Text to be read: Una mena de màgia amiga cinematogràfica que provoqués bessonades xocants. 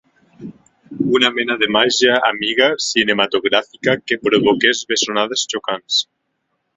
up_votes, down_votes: 2, 0